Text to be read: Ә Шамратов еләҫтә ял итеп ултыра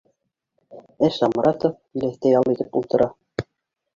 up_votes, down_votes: 2, 3